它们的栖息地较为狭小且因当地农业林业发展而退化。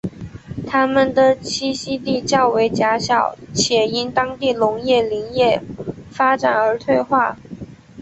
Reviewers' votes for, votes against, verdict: 2, 0, accepted